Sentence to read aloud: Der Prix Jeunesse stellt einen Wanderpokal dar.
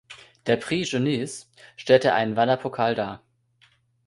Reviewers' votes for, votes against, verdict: 1, 2, rejected